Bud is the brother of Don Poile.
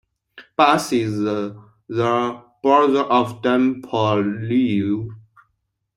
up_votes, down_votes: 0, 2